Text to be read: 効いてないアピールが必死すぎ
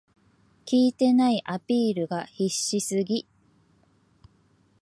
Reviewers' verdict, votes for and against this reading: accepted, 4, 0